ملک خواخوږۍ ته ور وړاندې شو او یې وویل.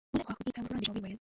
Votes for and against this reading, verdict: 1, 2, rejected